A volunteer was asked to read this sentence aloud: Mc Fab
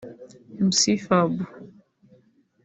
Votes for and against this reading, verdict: 1, 3, rejected